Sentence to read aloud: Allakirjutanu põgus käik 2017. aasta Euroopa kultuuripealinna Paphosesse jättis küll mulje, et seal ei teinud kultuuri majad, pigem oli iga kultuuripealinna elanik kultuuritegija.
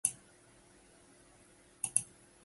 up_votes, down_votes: 0, 2